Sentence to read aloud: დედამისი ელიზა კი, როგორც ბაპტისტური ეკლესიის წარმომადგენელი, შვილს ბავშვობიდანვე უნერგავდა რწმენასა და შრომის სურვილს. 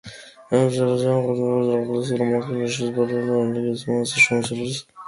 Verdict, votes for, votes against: rejected, 0, 2